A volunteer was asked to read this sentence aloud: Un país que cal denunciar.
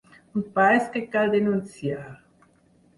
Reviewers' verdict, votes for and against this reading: rejected, 2, 4